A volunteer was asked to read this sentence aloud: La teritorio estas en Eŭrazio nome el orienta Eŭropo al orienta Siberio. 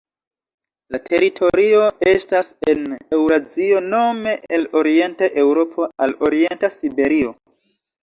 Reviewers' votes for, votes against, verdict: 0, 2, rejected